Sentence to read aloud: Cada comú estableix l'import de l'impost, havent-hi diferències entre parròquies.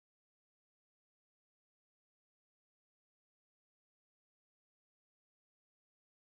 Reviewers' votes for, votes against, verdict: 0, 2, rejected